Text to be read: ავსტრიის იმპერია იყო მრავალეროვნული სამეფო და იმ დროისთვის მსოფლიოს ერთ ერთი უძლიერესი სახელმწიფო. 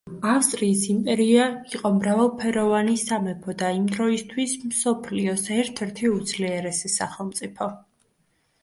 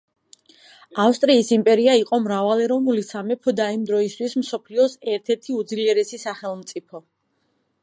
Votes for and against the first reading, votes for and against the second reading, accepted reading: 0, 2, 2, 0, second